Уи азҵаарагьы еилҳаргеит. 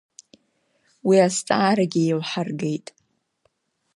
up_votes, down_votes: 2, 0